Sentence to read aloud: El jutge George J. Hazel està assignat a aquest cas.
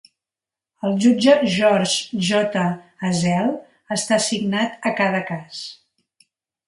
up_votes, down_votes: 1, 2